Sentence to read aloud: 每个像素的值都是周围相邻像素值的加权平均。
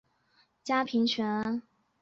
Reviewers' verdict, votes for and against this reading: rejected, 0, 2